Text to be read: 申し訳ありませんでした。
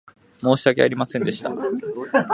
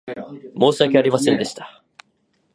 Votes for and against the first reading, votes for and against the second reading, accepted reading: 1, 2, 4, 0, second